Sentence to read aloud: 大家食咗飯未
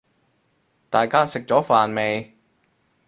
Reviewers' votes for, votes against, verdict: 2, 0, accepted